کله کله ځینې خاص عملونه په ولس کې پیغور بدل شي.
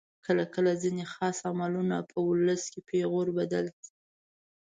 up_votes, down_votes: 0, 2